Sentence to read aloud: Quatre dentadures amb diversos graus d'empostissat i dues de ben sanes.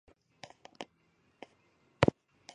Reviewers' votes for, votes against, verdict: 0, 2, rejected